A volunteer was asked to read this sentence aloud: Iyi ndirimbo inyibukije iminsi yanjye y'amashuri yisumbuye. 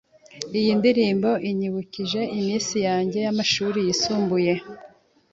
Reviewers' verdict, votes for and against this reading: accepted, 2, 0